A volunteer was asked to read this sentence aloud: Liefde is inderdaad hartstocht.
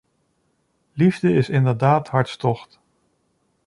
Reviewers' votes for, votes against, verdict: 2, 1, accepted